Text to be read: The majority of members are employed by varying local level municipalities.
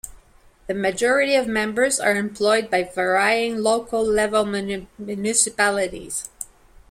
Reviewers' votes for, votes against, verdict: 0, 2, rejected